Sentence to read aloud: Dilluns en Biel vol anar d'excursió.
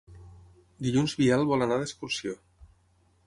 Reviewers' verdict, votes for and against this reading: rejected, 0, 6